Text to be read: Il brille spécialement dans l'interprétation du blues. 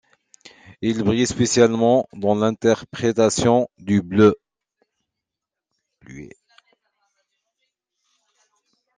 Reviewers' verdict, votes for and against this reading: rejected, 0, 2